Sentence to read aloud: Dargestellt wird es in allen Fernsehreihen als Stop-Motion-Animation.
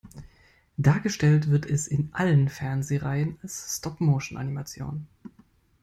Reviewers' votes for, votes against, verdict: 2, 0, accepted